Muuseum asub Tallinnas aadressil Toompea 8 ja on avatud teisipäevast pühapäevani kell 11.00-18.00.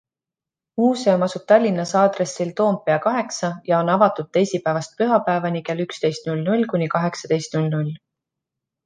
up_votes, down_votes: 0, 2